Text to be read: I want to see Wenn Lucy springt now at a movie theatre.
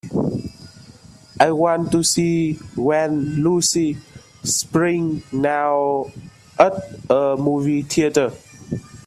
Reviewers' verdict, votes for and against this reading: accepted, 2, 0